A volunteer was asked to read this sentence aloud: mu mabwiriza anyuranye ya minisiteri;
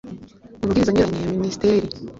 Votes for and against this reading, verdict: 1, 2, rejected